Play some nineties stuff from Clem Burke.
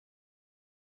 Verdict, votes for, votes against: rejected, 0, 2